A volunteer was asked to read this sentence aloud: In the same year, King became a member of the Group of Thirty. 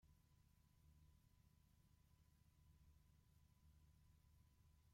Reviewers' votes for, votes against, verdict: 0, 2, rejected